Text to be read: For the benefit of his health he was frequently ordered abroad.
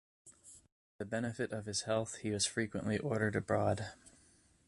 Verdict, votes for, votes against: accepted, 2, 1